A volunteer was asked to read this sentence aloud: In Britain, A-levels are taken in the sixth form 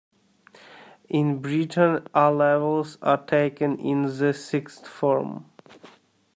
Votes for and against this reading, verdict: 0, 2, rejected